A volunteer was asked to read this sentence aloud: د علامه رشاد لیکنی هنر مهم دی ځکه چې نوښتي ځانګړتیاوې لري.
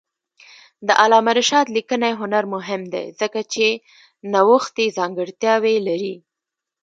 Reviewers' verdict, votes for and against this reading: accepted, 2, 0